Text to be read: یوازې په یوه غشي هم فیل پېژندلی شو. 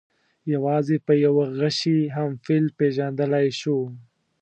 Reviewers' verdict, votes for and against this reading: accepted, 2, 0